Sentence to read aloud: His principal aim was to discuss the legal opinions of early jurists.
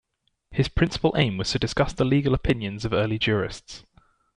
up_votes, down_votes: 2, 1